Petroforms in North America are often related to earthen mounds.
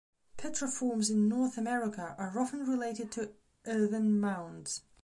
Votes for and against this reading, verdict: 1, 2, rejected